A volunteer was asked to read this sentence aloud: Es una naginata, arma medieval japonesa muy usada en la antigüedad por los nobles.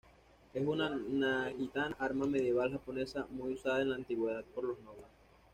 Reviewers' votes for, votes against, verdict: 1, 2, rejected